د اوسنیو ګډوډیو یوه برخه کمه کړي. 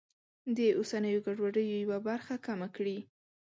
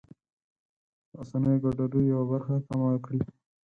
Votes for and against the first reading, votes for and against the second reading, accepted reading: 2, 1, 0, 4, first